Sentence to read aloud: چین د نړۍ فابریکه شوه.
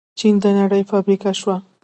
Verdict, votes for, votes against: accepted, 2, 0